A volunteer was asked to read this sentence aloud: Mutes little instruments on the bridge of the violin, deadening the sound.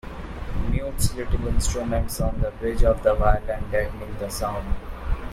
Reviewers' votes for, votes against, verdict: 1, 2, rejected